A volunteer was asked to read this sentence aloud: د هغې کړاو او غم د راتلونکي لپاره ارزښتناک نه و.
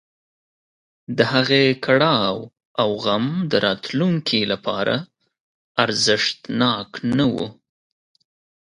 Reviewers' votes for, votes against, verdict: 2, 0, accepted